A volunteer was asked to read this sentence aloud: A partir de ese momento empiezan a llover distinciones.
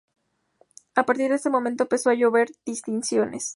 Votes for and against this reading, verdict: 2, 0, accepted